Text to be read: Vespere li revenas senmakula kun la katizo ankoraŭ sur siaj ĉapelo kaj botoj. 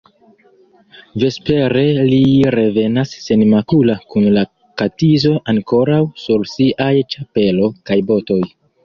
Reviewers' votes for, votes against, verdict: 1, 2, rejected